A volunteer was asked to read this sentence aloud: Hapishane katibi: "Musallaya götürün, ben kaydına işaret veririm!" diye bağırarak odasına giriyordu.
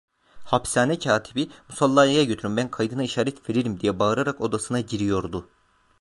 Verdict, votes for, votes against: rejected, 1, 2